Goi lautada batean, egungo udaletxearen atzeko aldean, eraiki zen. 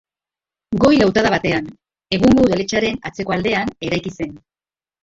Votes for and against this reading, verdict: 1, 2, rejected